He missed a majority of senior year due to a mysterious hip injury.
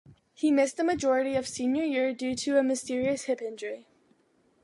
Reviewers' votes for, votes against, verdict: 2, 0, accepted